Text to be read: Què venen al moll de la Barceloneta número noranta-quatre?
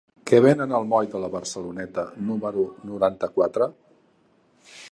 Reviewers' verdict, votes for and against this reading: accepted, 2, 0